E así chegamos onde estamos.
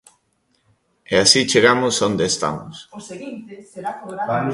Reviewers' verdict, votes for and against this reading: rejected, 1, 2